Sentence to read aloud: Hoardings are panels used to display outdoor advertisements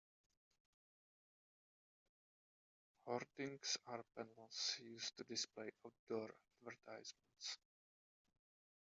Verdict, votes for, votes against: rejected, 0, 2